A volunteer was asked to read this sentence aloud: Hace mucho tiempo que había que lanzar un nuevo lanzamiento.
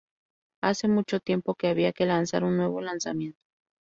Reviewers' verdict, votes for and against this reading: accepted, 2, 0